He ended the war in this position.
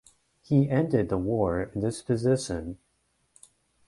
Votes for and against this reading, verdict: 1, 2, rejected